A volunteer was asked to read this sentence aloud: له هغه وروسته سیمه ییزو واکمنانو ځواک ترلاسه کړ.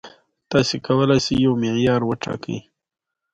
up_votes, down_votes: 2, 0